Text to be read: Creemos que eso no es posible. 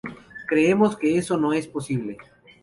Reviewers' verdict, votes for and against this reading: accepted, 2, 0